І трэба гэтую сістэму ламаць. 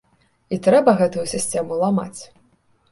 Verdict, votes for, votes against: rejected, 1, 2